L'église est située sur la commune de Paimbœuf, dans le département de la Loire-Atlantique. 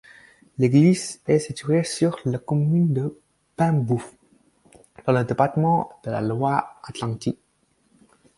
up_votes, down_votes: 4, 2